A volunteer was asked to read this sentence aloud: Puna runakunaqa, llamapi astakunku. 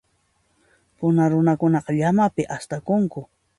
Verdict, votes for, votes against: accepted, 2, 0